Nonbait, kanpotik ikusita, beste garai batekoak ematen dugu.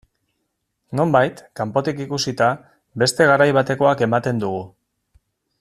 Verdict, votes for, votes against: accepted, 2, 0